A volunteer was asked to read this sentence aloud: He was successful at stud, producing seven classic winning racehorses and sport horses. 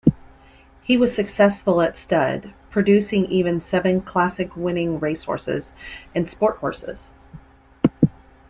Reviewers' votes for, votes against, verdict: 0, 2, rejected